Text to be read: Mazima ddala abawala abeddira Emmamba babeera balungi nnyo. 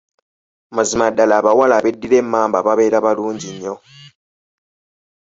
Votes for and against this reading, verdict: 2, 0, accepted